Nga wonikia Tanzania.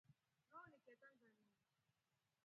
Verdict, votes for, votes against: rejected, 1, 2